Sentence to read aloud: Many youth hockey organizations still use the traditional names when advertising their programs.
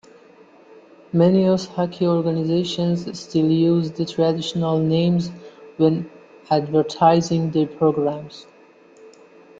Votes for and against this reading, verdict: 2, 1, accepted